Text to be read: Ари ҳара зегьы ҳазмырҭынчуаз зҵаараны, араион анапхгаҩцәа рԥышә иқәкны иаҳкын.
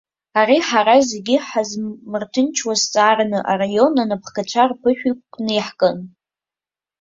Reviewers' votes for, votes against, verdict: 0, 2, rejected